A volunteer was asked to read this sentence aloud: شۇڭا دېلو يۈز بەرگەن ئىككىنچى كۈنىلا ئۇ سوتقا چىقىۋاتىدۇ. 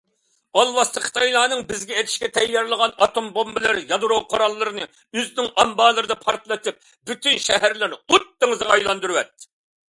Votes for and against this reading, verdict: 0, 2, rejected